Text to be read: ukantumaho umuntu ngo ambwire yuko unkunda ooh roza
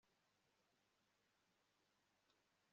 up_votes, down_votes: 2, 4